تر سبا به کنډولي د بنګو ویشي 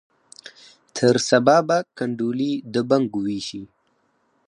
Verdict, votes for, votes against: rejected, 0, 4